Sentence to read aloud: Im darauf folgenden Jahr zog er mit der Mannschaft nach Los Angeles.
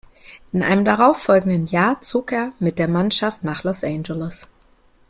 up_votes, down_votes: 0, 2